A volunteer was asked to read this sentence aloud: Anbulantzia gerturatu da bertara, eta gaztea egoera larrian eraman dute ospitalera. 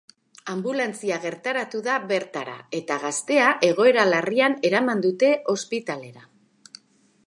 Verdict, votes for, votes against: rejected, 0, 2